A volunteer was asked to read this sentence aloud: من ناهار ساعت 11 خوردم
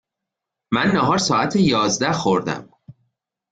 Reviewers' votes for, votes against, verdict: 0, 2, rejected